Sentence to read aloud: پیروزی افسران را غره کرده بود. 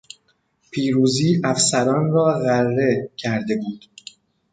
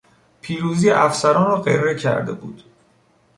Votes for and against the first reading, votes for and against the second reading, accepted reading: 2, 0, 1, 2, first